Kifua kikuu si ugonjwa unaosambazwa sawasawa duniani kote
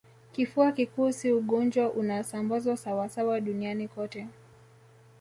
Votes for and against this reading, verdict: 2, 1, accepted